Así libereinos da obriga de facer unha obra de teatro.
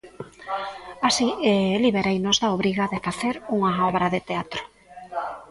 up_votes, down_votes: 1, 2